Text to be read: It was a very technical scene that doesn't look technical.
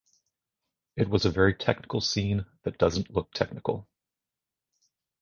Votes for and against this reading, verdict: 2, 0, accepted